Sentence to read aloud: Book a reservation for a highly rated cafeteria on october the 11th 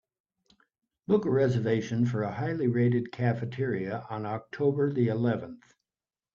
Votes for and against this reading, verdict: 0, 2, rejected